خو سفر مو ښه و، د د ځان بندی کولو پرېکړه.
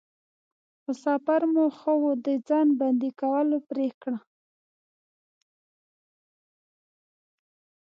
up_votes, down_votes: 0, 2